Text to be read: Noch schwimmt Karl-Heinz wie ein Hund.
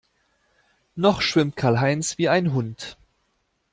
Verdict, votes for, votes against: accepted, 2, 0